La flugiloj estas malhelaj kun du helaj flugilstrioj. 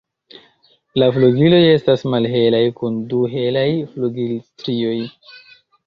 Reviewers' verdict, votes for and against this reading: accepted, 2, 0